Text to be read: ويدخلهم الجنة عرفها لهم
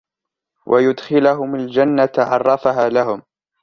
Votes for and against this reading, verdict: 4, 1, accepted